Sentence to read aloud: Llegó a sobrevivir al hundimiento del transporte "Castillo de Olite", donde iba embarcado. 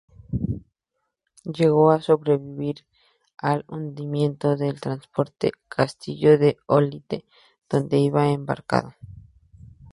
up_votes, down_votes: 2, 0